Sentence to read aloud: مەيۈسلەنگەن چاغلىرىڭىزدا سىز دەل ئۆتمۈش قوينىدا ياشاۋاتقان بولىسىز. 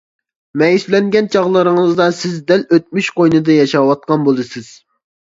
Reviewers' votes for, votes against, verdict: 2, 0, accepted